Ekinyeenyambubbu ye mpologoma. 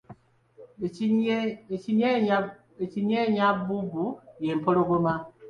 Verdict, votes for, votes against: rejected, 0, 2